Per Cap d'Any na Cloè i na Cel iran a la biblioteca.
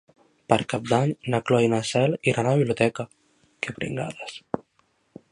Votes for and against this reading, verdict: 0, 2, rejected